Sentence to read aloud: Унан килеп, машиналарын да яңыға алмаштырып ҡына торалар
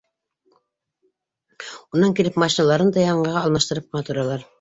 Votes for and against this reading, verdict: 1, 2, rejected